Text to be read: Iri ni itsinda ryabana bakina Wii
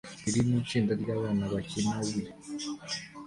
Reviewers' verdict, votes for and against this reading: accepted, 2, 0